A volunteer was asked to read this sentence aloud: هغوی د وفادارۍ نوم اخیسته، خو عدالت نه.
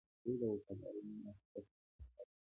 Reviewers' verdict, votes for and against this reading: rejected, 1, 2